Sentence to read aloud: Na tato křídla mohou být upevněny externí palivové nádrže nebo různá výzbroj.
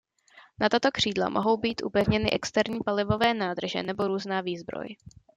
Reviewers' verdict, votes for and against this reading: accepted, 2, 0